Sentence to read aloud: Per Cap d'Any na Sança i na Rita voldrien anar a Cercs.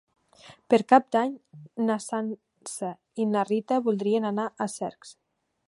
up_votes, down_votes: 2, 0